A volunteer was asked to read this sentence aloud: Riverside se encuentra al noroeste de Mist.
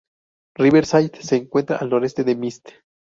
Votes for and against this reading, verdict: 4, 0, accepted